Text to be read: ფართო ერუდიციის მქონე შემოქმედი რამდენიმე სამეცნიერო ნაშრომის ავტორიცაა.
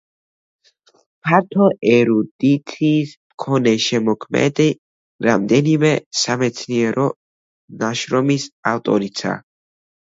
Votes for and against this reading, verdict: 0, 2, rejected